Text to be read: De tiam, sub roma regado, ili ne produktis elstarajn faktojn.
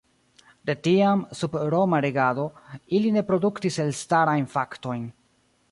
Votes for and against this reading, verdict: 2, 0, accepted